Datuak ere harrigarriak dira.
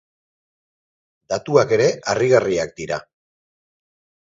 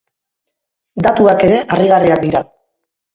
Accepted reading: first